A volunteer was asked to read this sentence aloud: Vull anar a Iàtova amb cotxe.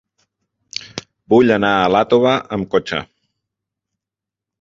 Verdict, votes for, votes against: rejected, 1, 2